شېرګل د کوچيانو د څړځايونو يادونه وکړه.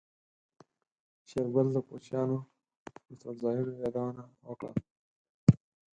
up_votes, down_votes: 0, 4